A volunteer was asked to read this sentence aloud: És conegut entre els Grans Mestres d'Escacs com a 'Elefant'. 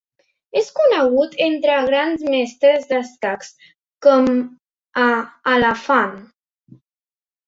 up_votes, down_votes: 0, 2